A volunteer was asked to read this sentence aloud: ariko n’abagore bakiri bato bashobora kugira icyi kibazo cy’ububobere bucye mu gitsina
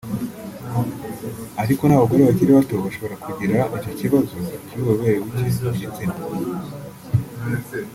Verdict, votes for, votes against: rejected, 1, 2